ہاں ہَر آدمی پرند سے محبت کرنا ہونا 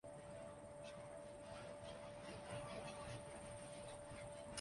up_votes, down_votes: 0, 2